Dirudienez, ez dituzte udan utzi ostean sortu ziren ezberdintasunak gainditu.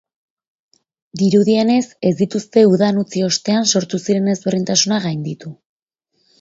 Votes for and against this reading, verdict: 6, 0, accepted